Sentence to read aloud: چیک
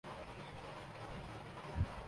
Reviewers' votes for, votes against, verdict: 1, 10, rejected